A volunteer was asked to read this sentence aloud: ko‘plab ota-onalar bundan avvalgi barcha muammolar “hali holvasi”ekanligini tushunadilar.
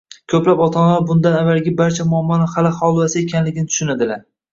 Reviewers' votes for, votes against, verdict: 0, 2, rejected